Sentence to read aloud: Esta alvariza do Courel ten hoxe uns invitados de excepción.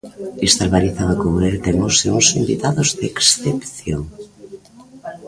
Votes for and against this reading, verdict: 1, 2, rejected